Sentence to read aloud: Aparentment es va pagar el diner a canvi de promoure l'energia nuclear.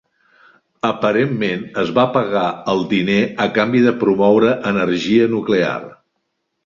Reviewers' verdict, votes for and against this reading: rejected, 0, 2